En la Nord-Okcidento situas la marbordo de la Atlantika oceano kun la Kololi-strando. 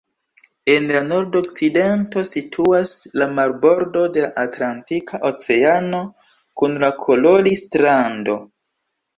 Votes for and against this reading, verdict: 2, 3, rejected